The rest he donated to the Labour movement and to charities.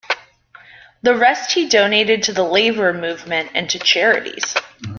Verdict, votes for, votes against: rejected, 0, 2